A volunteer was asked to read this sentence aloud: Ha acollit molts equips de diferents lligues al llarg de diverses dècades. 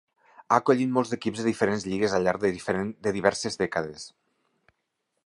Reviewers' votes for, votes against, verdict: 0, 2, rejected